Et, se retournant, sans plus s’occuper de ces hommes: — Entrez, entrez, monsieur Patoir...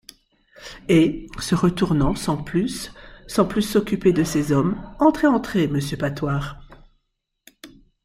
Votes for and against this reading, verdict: 0, 2, rejected